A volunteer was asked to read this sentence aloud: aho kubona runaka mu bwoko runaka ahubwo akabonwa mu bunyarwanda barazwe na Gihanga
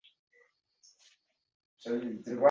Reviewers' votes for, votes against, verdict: 0, 2, rejected